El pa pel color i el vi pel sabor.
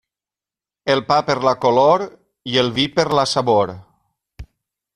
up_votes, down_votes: 0, 2